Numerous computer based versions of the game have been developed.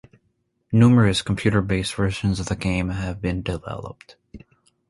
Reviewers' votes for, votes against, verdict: 2, 0, accepted